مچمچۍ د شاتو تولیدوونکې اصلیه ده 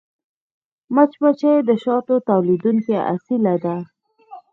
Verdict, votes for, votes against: rejected, 0, 4